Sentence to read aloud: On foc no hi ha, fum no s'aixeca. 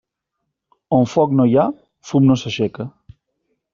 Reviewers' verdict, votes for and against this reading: accepted, 3, 0